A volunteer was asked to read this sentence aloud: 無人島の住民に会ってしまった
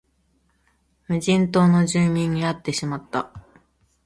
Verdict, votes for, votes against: accepted, 2, 0